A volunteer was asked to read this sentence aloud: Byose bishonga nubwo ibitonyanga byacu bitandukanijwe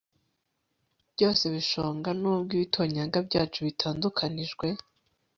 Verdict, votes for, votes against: accepted, 3, 1